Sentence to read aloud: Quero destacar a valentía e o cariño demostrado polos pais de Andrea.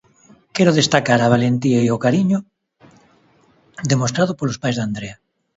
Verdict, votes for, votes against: accepted, 3, 0